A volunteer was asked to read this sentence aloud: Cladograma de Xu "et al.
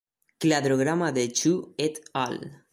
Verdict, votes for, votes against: accepted, 2, 0